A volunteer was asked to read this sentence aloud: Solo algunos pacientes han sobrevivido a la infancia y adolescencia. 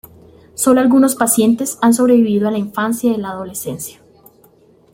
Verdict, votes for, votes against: rejected, 0, 2